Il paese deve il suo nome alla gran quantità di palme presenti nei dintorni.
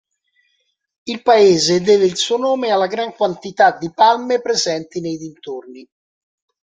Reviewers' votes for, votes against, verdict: 2, 0, accepted